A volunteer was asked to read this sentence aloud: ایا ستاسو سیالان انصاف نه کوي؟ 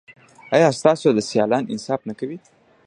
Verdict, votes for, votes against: accepted, 2, 1